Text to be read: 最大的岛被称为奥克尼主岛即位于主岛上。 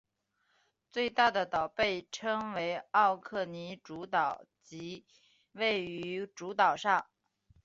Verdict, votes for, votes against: accepted, 6, 0